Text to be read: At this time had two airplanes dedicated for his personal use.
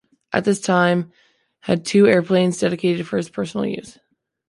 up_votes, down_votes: 3, 0